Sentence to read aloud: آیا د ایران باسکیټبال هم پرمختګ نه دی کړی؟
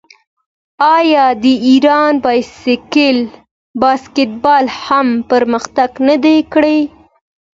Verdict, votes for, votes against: accepted, 2, 1